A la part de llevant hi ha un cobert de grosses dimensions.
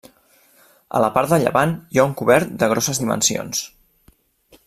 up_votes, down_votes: 0, 2